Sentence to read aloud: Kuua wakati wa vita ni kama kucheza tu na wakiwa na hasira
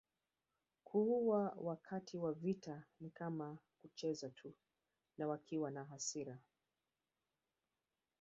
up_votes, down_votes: 1, 2